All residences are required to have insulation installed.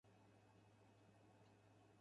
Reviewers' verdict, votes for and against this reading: rejected, 0, 4